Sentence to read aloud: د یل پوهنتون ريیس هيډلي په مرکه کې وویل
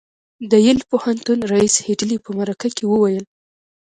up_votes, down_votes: 2, 0